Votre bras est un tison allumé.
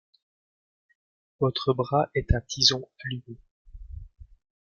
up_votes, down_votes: 1, 2